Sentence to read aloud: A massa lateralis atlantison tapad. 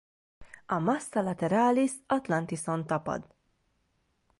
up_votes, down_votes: 1, 2